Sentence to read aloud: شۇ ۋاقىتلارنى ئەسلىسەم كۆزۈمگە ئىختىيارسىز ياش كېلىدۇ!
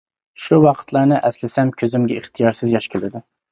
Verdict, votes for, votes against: accepted, 2, 0